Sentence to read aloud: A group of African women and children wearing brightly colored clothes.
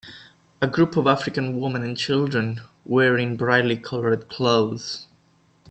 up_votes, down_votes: 2, 0